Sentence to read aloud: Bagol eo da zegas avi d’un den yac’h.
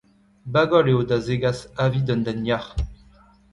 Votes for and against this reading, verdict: 0, 2, rejected